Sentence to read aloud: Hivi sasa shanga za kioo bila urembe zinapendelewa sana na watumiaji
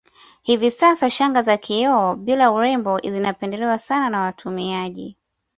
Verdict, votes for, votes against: accepted, 2, 0